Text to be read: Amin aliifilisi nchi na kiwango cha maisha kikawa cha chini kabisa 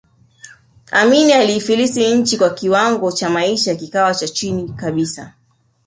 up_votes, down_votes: 1, 2